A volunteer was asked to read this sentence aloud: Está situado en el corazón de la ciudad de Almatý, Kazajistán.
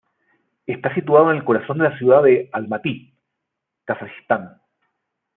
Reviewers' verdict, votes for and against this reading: accepted, 2, 0